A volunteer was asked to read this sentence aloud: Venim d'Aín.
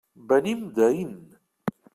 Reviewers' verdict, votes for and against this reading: accepted, 2, 0